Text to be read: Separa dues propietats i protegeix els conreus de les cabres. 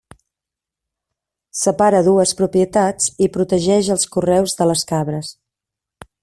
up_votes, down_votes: 0, 2